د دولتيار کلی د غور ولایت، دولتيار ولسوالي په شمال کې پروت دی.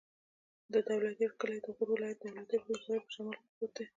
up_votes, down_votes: 2, 1